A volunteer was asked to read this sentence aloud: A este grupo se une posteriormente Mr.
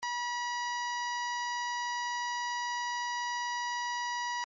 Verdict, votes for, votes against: rejected, 0, 2